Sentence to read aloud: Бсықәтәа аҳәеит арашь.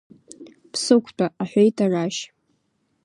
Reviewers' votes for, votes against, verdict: 2, 1, accepted